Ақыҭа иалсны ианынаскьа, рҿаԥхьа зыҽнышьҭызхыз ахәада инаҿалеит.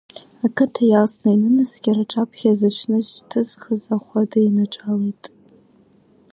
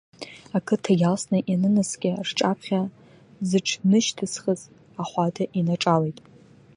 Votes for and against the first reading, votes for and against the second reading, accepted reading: 2, 1, 1, 2, first